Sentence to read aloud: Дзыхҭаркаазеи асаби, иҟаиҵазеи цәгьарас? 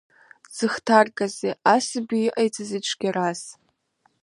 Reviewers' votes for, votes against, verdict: 2, 0, accepted